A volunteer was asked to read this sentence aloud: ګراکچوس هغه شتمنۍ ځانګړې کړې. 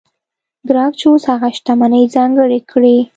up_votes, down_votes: 2, 0